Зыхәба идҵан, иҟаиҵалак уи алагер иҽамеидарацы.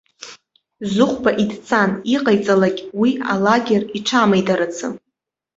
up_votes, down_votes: 1, 2